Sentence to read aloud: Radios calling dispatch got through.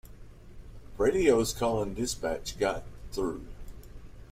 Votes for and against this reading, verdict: 2, 0, accepted